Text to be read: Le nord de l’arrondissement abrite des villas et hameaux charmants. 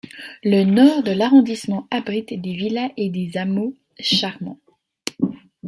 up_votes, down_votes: 0, 2